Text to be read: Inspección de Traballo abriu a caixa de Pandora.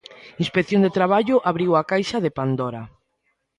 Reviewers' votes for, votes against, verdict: 2, 0, accepted